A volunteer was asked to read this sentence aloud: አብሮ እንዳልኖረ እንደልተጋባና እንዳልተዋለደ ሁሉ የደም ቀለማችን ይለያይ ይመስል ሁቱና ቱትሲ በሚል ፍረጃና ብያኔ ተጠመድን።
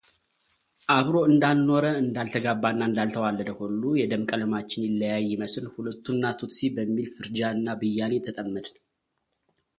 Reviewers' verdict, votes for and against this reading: rejected, 1, 2